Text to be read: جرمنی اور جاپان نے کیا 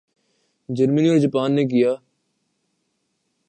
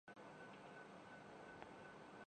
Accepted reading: first